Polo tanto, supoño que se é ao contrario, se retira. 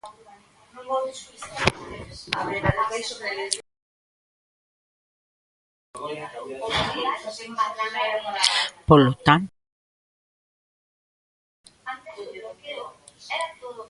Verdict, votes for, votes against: rejected, 0, 2